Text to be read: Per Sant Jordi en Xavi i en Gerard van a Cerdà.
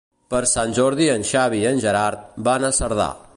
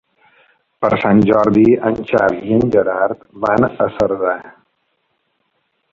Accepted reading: first